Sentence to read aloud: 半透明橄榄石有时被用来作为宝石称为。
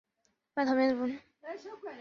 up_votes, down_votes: 0, 3